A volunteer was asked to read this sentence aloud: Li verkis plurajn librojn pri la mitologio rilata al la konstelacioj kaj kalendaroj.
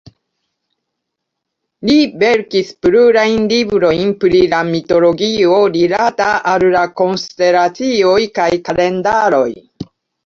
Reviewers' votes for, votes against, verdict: 2, 1, accepted